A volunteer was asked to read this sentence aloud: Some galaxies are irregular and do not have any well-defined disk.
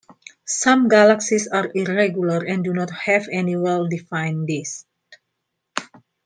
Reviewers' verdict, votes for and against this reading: accepted, 2, 0